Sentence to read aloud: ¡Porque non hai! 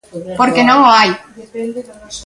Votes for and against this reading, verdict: 0, 3, rejected